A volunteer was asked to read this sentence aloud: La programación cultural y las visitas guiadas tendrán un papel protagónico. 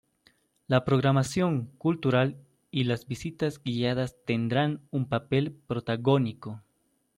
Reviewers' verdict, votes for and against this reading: accepted, 2, 0